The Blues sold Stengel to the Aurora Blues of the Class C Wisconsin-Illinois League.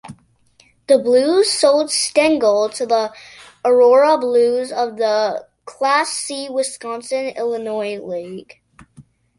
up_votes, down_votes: 2, 0